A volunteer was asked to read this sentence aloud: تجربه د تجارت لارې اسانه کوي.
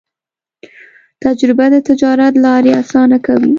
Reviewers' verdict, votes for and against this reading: accepted, 2, 0